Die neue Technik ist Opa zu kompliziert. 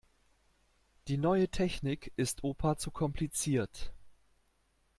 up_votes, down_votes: 2, 0